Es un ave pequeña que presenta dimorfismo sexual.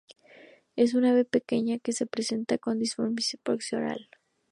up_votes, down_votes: 0, 4